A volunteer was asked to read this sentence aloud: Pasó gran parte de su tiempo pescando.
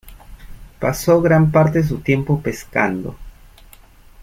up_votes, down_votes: 2, 0